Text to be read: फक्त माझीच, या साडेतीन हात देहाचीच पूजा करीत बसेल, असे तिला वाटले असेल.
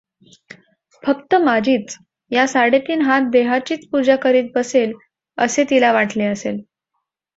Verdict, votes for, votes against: accepted, 2, 0